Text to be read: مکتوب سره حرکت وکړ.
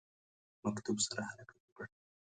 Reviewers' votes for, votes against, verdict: 0, 2, rejected